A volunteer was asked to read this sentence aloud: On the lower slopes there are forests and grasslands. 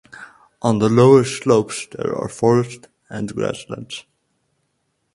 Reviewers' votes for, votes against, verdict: 4, 0, accepted